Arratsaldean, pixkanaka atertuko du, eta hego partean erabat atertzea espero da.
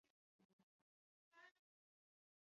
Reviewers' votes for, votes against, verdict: 0, 4, rejected